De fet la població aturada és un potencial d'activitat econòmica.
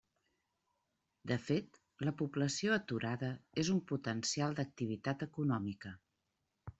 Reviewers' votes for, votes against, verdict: 3, 0, accepted